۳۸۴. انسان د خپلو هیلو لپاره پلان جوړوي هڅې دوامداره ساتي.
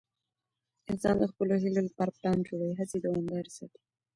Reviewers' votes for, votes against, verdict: 0, 2, rejected